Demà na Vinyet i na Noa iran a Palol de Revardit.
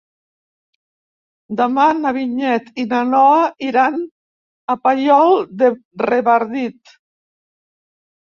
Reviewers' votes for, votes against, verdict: 0, 2, rejected